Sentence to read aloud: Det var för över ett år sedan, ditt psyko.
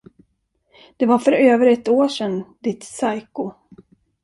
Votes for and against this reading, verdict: 1, 2, rejected